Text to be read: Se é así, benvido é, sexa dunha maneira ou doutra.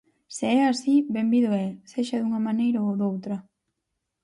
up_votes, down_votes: 4, 0